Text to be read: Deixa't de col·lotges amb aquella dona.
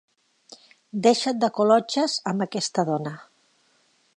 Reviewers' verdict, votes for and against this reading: rejected, 0, 2